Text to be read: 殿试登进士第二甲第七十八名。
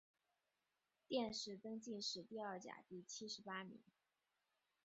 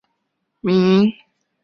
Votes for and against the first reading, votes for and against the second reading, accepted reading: 3, 1, 1, 5, first